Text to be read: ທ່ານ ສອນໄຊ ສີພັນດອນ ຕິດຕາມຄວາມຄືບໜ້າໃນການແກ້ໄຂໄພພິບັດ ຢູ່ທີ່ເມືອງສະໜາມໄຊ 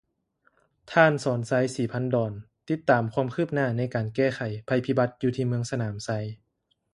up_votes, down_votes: 2, 0